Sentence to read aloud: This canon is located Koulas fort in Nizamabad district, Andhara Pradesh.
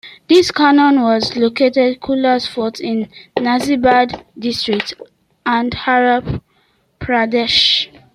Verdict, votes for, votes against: rejected, 1, 2